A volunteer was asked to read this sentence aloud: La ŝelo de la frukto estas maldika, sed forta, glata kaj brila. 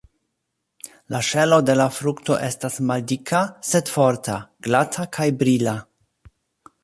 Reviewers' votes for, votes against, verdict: 2, 0, accepted